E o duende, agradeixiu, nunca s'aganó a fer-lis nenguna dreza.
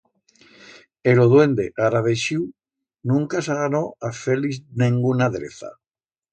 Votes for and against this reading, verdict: 1, 2, rejected